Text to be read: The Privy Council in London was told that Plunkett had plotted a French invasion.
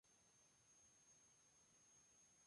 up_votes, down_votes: 0, 2